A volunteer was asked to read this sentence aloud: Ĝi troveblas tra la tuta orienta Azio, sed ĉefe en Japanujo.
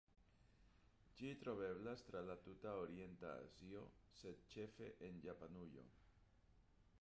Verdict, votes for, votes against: rejected, 1, 2